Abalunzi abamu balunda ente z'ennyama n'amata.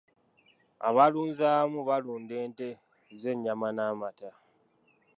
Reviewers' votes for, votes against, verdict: 2, 0, accepted